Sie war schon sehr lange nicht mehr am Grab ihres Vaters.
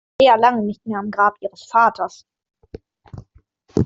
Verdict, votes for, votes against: rejected, 0, 2